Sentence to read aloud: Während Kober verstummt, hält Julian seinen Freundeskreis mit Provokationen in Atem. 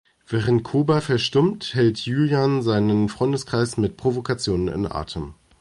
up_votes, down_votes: 2, 1